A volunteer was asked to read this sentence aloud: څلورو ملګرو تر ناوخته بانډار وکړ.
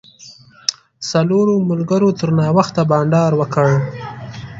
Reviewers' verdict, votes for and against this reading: accepted, 2, 0